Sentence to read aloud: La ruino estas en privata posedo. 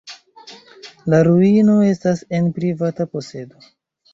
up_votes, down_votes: 2, 1